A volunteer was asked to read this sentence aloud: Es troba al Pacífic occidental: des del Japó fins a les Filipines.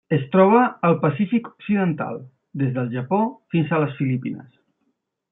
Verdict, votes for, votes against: accepted, 3, 0